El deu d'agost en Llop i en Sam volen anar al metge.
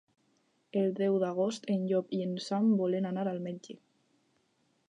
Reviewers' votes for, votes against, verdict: 4, 0, accepted